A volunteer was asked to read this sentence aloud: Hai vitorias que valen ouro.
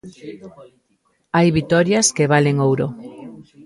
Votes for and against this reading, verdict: 2, 0, accepted